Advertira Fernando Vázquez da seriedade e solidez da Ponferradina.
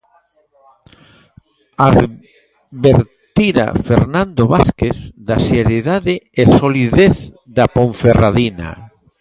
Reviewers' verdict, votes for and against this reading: rejected, 0, 2